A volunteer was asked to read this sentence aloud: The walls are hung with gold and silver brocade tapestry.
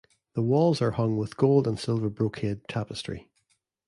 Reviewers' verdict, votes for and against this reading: accepted, 2, 0